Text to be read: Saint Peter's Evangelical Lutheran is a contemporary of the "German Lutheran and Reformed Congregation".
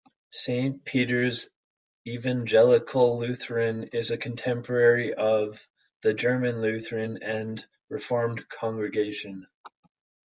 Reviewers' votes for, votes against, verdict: 2, 0, accepted